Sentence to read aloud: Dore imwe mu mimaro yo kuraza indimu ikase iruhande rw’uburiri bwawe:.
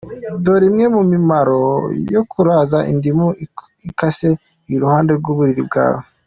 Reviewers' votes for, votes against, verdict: 2, 0, accepted